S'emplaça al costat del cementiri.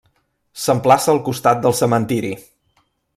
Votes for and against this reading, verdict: 3, 0, accepted